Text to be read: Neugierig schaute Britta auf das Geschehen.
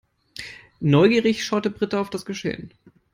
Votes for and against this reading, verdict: 3, 0, accepted